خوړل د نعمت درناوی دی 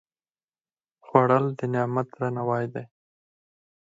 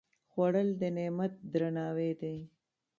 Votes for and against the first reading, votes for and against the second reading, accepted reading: 2, 4, 3, 1, second